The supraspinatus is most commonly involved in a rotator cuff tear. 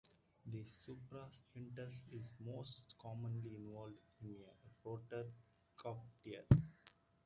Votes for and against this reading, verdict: 0, 2, rejected